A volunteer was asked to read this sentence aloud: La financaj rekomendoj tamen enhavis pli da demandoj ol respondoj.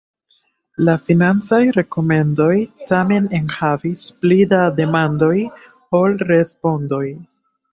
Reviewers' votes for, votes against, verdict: 2, 1, accepted